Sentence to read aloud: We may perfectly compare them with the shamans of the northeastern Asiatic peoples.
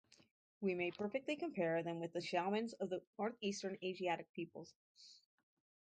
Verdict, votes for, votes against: rejected, 2, 2